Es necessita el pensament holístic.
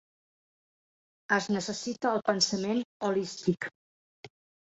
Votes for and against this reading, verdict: 0, 2, rejected